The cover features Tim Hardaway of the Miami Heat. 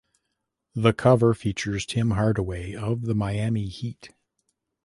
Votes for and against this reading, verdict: 2, 0, accepted